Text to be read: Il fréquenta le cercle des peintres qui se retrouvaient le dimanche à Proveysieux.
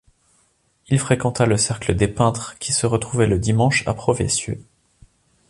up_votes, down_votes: 2, 0